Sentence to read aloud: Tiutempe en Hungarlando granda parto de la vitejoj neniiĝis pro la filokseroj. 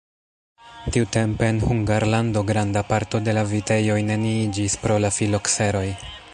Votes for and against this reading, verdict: 3, 1, accepted